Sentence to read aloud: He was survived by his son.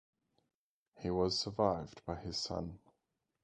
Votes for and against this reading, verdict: 0, 2, rejected